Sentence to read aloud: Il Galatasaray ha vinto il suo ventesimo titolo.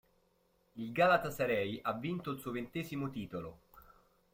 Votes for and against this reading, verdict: 1, 2, rejected